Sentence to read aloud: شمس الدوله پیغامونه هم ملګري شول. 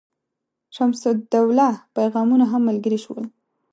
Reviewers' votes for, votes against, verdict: 2, 0, accepted